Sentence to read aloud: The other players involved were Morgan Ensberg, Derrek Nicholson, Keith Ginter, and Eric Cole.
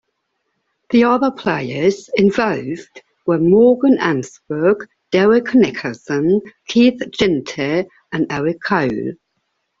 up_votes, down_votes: 2, 0